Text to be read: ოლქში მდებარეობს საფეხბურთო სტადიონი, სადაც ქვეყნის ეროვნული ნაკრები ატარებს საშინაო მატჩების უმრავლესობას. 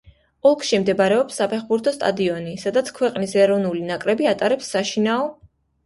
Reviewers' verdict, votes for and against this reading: rejected, 0, 2